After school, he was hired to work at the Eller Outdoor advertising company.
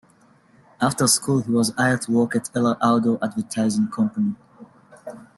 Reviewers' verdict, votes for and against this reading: rejected, 0, 2